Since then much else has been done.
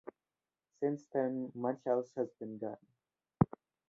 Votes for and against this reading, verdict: 2, 0, accepted